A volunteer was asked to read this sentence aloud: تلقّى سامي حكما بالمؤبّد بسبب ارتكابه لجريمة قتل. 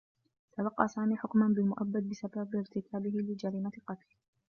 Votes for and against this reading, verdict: 0, 2, rejected